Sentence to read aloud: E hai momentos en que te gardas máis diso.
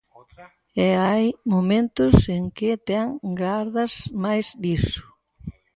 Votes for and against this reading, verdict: 0, 4, rejected